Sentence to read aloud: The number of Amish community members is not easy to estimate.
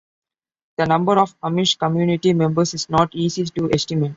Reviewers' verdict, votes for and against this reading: accepted, 2, 0